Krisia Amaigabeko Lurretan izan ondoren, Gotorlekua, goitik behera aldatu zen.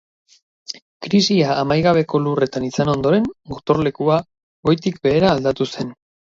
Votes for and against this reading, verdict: 0, 2, rejected